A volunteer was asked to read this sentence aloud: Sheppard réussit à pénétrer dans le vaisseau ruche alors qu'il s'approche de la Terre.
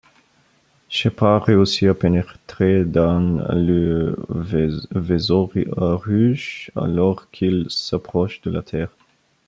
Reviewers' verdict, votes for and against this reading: rejected, 1, 2